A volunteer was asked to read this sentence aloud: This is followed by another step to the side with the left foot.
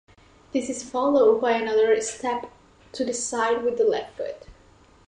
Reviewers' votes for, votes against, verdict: 2, 0, accepted